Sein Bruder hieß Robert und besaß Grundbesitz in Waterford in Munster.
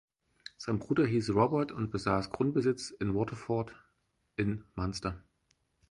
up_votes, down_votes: 4, 0